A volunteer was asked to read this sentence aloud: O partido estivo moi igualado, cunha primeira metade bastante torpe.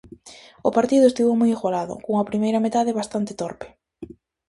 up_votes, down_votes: 2, 0